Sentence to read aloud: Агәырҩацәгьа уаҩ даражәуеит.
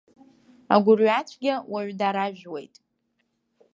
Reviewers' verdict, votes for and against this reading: accepted, 2, 0